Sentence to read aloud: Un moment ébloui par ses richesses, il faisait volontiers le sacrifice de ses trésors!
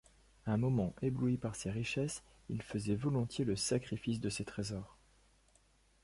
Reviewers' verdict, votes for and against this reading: accepted, 2, 0